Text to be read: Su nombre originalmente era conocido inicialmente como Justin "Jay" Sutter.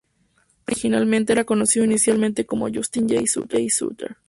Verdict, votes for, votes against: rejected, 0, 2